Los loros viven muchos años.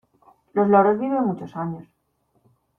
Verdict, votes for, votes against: accepted, 2, 0